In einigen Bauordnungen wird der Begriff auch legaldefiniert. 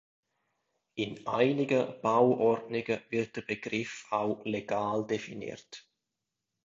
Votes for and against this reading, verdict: 0, 2, rejected